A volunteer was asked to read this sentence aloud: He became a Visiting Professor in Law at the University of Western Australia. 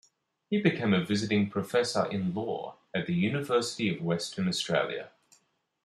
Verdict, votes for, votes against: rejected, 1, 2